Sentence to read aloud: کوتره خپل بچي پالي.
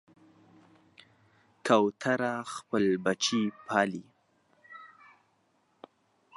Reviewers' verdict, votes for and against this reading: accepted, 2, 0